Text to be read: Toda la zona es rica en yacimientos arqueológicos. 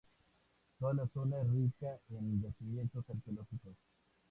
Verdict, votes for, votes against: rejected, 0, 2